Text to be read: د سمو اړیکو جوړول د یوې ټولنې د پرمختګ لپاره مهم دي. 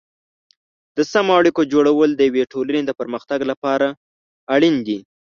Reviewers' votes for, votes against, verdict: 0, 2, rejected